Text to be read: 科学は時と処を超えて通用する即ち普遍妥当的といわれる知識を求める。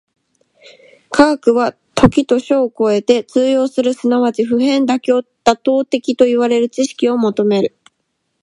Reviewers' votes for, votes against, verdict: 2, 1, accepted